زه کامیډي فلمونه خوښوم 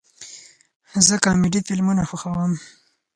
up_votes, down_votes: 4, 2